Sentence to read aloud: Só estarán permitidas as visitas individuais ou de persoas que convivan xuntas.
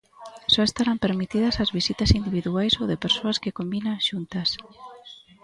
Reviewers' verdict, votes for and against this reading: rejected, 0, 2